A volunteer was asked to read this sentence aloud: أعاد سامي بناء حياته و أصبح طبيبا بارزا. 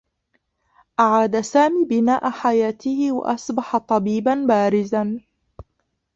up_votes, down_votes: 1, 2